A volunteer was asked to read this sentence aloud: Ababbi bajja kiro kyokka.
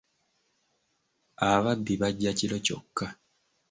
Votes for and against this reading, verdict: 2, 0, accepted